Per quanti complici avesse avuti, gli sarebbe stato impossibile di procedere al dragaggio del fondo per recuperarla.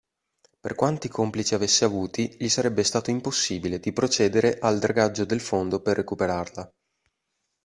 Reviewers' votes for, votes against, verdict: 2, 0, accepted